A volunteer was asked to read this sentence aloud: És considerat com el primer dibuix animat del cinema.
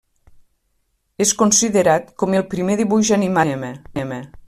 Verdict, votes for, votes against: rejected, 0, 2